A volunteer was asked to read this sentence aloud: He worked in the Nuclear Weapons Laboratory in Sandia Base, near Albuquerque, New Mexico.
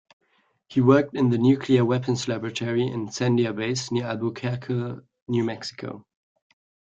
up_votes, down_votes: 2, 1